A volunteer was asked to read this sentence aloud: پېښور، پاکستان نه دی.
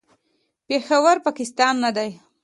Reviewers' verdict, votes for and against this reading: accepted, 2, 0